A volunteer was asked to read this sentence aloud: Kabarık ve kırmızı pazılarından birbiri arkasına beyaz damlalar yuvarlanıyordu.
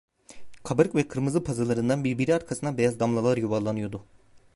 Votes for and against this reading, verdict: 0, 2, rejected